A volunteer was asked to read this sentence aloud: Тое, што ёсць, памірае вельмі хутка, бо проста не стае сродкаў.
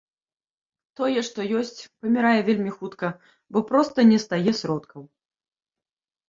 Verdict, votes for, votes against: accepted, 2, 0